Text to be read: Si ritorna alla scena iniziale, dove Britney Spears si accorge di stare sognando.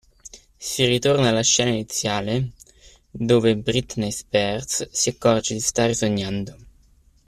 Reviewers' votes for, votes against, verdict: 2, 0, accepted